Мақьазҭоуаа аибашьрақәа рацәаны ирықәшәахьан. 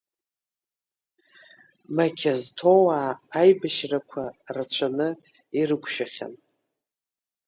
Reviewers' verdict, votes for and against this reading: accepted, 2, 1